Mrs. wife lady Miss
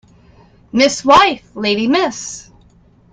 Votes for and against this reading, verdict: 1, 2, rejected